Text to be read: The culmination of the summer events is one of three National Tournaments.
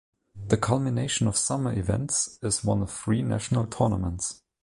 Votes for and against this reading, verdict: 0, 2, rejected